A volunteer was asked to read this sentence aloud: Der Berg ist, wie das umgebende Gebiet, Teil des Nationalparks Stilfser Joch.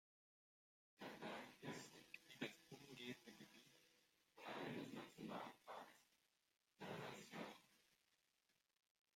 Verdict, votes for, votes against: rejected, 0, 2